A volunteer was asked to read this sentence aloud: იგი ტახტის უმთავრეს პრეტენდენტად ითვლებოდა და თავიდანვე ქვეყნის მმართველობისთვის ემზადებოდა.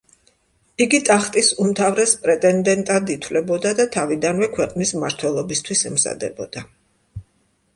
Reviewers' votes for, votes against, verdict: 2, 0, accepted